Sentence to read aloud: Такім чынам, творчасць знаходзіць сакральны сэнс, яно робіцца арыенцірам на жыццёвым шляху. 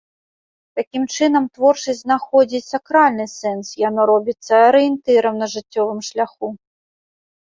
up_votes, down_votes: 1, 2